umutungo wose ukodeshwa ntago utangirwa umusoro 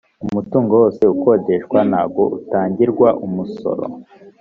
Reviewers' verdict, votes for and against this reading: accepted, 2, 0